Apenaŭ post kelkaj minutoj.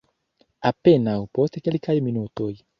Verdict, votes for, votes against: accepted, 2, 0